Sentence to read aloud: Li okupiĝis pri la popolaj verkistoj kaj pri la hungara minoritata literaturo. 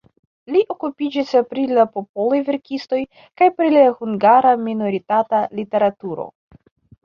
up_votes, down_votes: 2, 0